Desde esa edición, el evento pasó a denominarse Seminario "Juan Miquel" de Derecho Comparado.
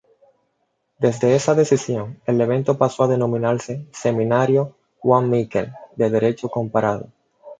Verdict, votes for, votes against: rejected, 1, 2